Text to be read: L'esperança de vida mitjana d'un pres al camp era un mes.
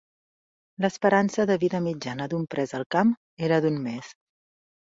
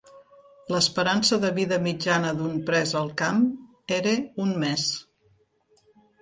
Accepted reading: second